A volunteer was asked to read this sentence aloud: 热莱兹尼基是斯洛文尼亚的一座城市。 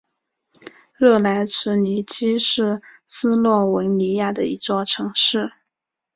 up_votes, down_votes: 4, 1